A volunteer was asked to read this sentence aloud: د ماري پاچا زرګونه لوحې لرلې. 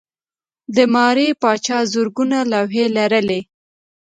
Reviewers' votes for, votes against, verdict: 1, 2, rejected